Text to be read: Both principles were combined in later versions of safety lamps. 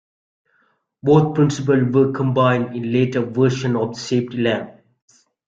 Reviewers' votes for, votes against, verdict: 1, 2, rejected